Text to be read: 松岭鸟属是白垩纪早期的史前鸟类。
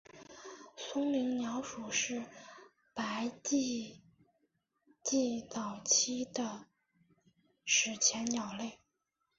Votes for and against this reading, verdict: 2, 3, rejected